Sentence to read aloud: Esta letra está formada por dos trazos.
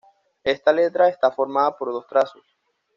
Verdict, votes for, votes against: accepted, 2, 0